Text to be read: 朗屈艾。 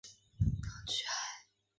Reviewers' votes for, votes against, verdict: 0, 2, rejected